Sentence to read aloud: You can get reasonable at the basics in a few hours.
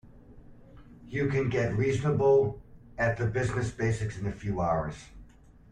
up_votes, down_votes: 0, 2